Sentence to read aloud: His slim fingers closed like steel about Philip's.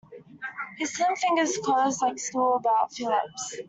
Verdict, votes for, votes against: rejected, 1, 2